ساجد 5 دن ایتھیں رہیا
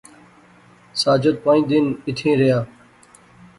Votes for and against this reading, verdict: 0, 2, rejected